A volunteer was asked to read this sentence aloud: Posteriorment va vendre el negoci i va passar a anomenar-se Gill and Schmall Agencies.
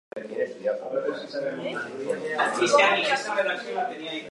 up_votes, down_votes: 0, 2